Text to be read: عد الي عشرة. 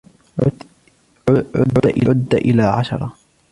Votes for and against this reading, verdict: 2, 1, accepted